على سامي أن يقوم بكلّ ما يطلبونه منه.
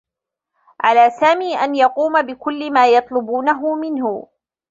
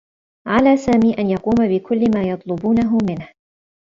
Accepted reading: second